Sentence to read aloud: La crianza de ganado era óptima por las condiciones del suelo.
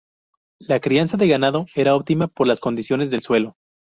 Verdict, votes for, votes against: rejected, 0, 2